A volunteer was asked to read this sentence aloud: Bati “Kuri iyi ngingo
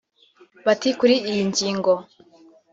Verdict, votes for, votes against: accepted, 2, 1